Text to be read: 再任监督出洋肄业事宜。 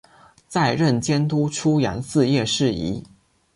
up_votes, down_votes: 0, 2